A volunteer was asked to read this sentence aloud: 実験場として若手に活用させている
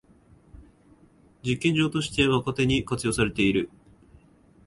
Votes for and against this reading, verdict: 0, 2, rejected